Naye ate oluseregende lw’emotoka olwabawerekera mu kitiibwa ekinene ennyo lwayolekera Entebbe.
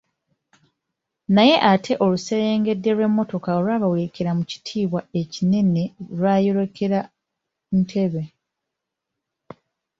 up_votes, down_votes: 0, 2